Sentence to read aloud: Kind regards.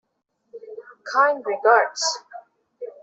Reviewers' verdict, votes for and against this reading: accepted, 2, 0